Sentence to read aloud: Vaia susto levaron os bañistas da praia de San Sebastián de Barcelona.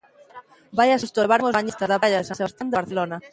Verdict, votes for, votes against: rejected, 0, 2